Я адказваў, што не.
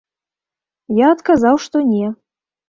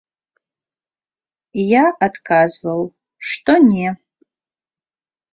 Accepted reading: second